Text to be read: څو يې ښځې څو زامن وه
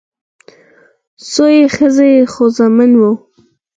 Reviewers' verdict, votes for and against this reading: rejected, 0, 4